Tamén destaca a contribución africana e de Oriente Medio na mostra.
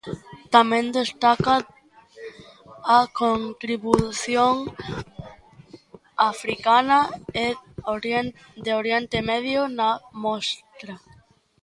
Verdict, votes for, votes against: rejected, 0, 2